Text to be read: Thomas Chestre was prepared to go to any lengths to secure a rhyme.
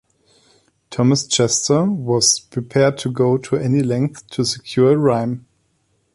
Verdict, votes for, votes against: rejected, 0, 2